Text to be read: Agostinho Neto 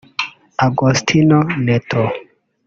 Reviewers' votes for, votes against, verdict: 1, 2, rejected